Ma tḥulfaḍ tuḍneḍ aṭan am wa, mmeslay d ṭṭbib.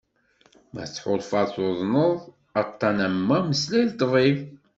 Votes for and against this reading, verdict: 2, 0, accepted